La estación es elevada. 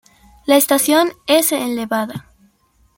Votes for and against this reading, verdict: 2, 0, accepted